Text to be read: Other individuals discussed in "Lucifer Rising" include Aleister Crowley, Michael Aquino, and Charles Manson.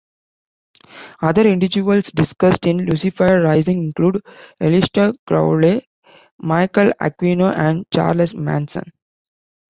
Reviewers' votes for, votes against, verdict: 2, 0, accepted